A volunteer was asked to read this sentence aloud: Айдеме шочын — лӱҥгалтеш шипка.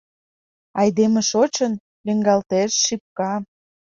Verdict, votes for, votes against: accepted, 2, 0